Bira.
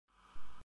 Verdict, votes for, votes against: rejected, 0, 2